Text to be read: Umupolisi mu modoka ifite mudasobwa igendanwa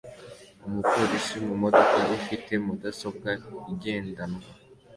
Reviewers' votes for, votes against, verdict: 2, 0, accepted